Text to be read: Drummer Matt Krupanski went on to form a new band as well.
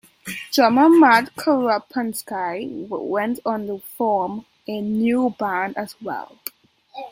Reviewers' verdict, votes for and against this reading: rejected, 0, 2